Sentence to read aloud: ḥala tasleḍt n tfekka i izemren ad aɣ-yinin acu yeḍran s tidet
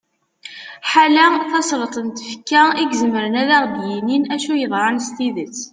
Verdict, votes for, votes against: accepted, 2, 0